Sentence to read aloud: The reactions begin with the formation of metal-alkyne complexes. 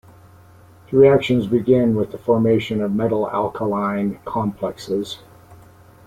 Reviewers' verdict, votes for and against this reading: rejected, 0, 2